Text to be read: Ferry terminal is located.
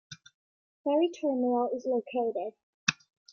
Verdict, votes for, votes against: accepted, 2, 1